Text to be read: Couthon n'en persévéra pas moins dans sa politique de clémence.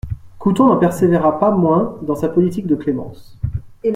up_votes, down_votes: 1, 2